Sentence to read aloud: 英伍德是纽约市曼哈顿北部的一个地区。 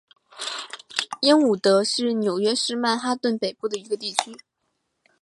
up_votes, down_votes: 2, 0